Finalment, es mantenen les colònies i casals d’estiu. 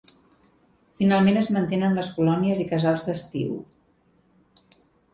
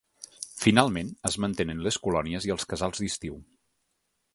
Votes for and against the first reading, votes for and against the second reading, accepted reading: 3, 0, 1, 2, first